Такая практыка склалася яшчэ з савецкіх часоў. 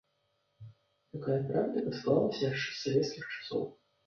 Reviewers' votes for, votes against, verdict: 0, 2, rejected